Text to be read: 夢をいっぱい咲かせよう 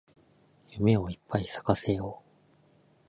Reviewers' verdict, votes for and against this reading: accepted, 6, 0